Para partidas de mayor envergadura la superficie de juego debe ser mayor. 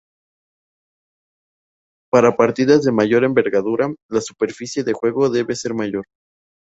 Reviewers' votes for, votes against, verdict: 2, 0, accepted